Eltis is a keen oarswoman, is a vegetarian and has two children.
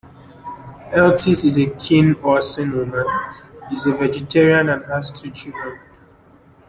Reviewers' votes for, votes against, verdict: 1, 2, rejected